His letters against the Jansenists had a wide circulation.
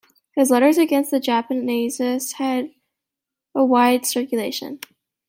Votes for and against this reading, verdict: 0, 2, rejected